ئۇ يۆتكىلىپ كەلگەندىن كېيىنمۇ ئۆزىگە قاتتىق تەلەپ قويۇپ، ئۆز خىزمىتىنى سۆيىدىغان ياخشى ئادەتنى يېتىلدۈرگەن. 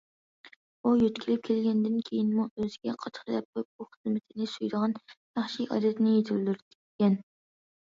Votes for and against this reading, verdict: 1, 2, rejected